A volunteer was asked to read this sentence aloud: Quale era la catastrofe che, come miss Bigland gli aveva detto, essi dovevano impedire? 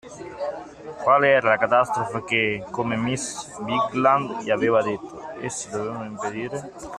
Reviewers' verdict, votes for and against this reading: accepted, 2, 0